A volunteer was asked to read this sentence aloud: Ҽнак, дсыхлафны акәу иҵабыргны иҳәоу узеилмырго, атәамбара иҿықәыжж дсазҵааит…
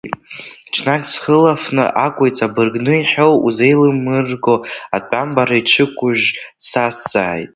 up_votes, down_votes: 2, 1